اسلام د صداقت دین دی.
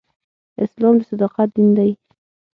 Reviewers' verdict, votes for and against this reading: accepted, 6, 0